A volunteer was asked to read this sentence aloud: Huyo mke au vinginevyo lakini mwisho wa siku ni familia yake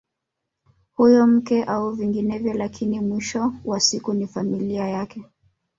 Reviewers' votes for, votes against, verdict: 2, 0, accepted